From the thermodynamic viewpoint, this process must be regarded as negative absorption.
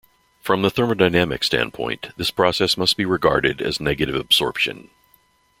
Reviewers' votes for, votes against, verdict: 0, 2, rejected